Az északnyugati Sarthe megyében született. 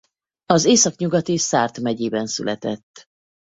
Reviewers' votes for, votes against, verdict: 2, 0, accepted